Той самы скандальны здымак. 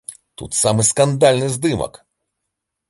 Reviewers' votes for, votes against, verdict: 1, 2, rejected